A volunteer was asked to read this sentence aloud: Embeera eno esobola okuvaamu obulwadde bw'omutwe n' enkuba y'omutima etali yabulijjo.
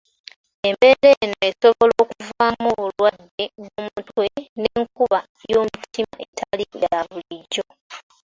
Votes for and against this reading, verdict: 2, 1, accepted